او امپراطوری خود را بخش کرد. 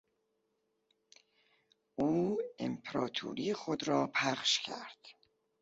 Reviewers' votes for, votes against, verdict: 0, 2, rejected